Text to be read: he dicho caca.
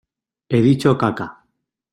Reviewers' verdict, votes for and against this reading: accepted, 2, 0